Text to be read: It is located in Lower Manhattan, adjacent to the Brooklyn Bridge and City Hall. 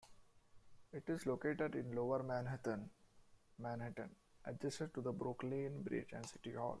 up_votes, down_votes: 0, 2